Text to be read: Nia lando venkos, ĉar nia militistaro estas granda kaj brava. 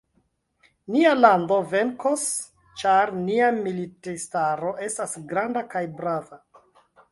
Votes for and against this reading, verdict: 1, 2, rejected